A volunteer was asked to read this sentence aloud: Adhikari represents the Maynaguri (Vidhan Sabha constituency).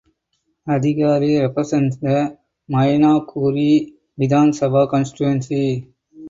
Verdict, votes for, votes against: accepted, 4, 2